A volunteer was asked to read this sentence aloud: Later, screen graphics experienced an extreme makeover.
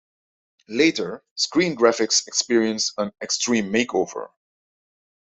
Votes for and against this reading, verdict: 2, 0, accepted